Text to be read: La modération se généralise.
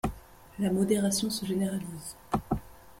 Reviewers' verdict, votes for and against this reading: accepted, 2, 0